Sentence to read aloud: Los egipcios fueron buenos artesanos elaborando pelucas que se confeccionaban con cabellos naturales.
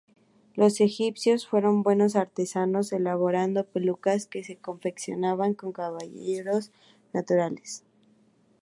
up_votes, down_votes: 2, 2